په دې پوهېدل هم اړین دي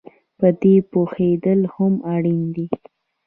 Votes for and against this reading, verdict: 2, 0, accepted